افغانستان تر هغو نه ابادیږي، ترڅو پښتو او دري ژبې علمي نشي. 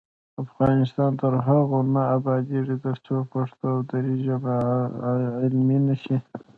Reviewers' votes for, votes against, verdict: 1, 2, rejected